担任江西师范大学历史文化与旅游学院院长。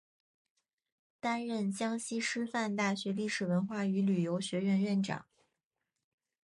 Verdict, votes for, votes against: accepted, 2, 0